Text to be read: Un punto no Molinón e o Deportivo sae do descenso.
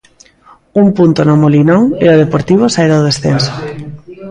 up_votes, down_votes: 0, 2